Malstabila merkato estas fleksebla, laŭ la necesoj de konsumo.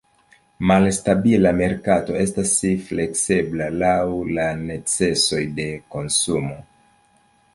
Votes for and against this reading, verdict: 2, 0, accepted